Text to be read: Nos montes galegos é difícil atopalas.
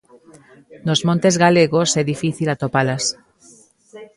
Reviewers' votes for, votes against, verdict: 2, 0, accepted